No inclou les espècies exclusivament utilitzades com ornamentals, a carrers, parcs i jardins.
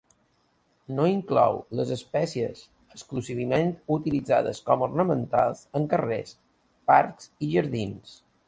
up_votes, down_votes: 1, 2